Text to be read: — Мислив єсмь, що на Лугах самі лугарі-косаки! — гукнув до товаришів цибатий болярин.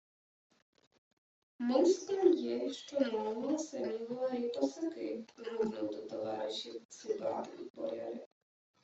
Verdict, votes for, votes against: rejected, 1, 2